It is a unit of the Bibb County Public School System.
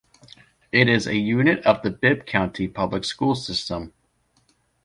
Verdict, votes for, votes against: accepted, 2, 0